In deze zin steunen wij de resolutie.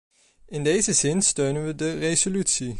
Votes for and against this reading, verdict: 1, 2, rejected